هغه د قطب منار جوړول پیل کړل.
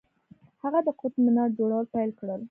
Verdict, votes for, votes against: accepted, 2, 0